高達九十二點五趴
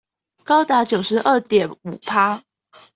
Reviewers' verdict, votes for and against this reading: accepted, 2, 0